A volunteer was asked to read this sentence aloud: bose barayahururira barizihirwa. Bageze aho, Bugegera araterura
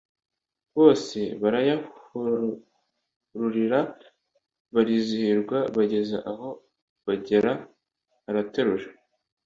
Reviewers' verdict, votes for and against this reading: rejected, 1, 2